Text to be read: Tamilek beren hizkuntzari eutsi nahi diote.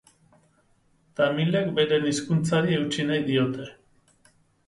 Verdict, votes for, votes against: accepted, 2, 0